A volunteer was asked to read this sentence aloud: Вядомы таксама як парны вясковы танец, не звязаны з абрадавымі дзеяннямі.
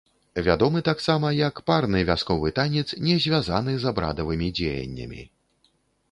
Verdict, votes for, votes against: accepted, 2, 0